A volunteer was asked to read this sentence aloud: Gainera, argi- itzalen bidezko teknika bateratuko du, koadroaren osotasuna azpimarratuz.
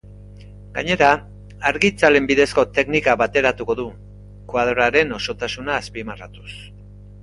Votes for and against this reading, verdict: 3, 0, accepted